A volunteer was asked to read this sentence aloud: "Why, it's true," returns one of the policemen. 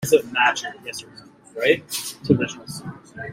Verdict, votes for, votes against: rejected, 0, 2